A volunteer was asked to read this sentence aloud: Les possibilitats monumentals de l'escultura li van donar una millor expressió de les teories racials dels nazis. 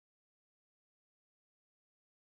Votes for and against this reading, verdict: 0, 3, rejected